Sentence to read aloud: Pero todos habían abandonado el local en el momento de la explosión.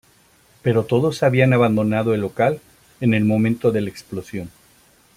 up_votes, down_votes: 2, 0